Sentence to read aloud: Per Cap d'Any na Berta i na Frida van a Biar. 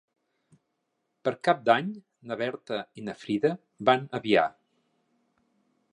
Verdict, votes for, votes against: accepted, 2, 0